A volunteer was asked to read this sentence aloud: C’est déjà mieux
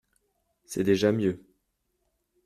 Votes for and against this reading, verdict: 3, 0, accepted